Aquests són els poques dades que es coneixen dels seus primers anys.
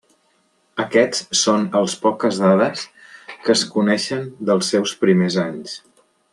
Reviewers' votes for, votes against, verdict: 4, 0, accepted